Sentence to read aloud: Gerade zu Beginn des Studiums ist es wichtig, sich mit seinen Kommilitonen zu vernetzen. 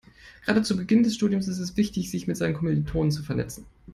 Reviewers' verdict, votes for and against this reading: accepted, 2, 0